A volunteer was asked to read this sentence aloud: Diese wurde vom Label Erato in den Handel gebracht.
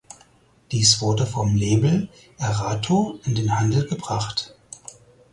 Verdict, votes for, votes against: rejected, 0, 4